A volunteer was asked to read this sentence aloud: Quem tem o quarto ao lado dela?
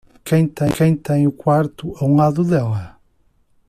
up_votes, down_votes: 0, 2